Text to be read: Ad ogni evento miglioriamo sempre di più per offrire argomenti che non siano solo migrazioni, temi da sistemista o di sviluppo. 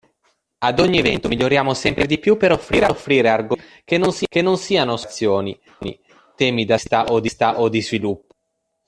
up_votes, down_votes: 0, 2